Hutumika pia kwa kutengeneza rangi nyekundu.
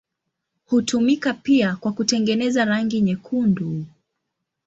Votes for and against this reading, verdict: 2, 1, accepted